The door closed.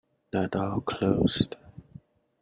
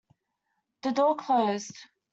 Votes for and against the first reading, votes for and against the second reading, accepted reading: 1, 2, 2, 1, second